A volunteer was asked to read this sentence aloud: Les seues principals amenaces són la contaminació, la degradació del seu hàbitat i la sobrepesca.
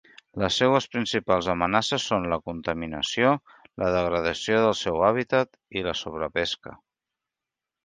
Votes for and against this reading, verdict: 3, 0, accepted